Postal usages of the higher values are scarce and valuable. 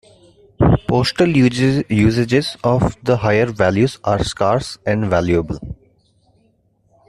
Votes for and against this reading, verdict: 1, 2, rejected